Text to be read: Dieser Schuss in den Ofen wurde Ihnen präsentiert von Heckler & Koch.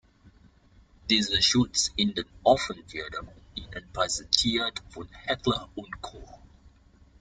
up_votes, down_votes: 0, 2